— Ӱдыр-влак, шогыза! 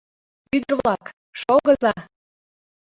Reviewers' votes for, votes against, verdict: 0, 2, rejected